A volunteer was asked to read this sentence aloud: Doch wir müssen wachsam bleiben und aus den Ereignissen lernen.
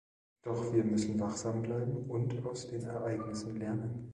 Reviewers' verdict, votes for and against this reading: rejected, 1, 2